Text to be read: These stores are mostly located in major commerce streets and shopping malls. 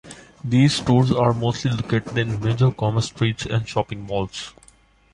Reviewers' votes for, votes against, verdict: 2, 0, accepted